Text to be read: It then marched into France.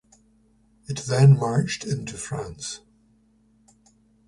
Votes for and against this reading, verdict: 1, 2, rejected